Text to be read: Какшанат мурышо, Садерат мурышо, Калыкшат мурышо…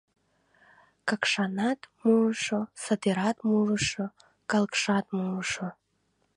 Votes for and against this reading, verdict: 1, 2, rejected